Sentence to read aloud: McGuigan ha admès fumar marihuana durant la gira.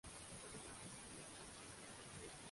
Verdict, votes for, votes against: rejected, 0, 2